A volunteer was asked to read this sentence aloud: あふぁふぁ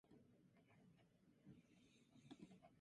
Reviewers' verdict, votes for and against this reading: rejected, 0, 2